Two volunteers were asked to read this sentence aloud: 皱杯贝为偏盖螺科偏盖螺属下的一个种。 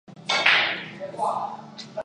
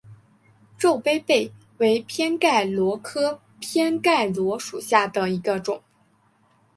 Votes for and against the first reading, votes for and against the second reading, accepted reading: 0, 2, 2, 1, second